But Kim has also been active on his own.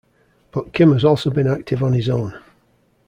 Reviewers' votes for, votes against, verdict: 1, 2, rejected